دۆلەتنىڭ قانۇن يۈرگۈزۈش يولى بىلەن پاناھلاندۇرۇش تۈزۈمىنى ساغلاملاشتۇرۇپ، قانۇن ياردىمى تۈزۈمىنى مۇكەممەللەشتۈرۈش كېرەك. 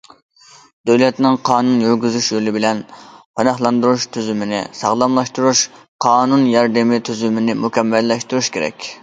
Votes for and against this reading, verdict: 0, 2, rejected